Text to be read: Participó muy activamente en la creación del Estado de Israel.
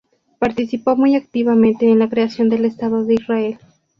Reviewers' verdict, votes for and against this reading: accepted, 2, 0